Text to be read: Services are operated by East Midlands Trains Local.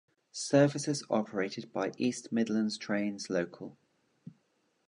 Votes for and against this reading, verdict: 2, 0, accepted